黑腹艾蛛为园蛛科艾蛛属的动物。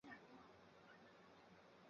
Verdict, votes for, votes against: accepted, 4, 3